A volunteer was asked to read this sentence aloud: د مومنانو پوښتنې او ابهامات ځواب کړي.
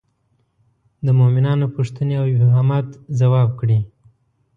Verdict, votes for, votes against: accepted, 2, 0